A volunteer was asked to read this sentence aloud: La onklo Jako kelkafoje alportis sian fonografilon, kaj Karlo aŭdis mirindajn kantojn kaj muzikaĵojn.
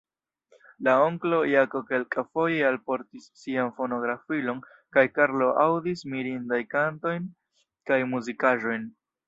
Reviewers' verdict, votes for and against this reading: rejected, 0, 2